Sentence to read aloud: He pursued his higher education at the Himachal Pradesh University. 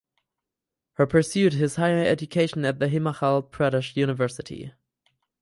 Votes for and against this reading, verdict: 0, 4, rejected